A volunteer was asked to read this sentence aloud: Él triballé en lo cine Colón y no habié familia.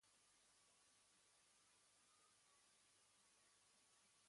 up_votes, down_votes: 1, 2